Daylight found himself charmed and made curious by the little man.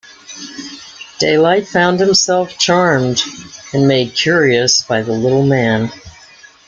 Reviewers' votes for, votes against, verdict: 2, 1, accepted